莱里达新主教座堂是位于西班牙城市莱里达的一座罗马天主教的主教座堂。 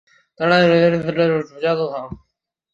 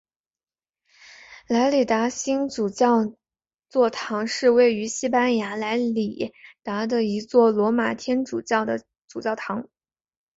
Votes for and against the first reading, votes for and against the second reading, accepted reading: 1, 2, 2, 1, second